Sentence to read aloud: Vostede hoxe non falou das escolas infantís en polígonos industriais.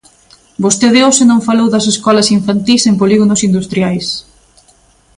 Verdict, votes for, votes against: accepted, 2, 0